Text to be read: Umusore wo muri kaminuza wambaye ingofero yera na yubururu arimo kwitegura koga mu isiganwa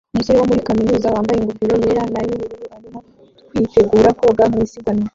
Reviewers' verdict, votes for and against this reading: rejected, 0, 2